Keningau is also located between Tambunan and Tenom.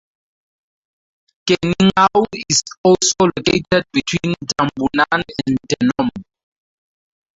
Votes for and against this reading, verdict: 2, 0, accepted